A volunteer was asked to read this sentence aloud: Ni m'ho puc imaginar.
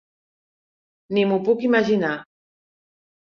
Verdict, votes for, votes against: accepted, 3, 0